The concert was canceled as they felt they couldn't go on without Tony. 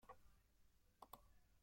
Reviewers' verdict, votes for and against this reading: rejected, 0, 2